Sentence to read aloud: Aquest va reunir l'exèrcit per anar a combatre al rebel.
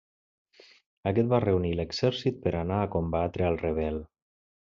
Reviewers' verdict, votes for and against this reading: accepted, 3, 0